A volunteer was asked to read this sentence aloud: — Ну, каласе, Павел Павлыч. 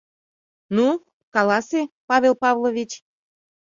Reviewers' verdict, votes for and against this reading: rejected, 1, 2